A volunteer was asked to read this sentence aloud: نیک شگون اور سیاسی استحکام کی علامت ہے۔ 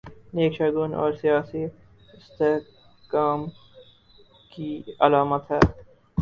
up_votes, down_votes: 0, 2